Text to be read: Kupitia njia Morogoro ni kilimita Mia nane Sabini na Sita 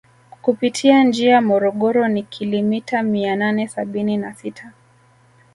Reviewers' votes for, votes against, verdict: 2, 0, accepted